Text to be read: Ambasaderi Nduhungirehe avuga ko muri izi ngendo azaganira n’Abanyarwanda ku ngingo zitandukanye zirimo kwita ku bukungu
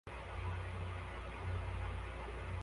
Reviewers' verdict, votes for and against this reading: rejected, 0, 2